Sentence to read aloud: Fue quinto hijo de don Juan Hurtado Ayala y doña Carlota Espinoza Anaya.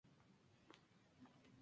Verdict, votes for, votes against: rejected, 0, 2